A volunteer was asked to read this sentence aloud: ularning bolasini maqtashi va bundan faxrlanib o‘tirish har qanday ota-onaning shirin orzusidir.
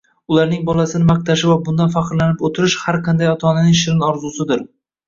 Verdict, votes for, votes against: rejected, 1, 2